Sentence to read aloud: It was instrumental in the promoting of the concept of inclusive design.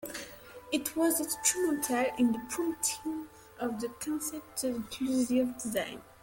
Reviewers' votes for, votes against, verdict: 1, 2, rejected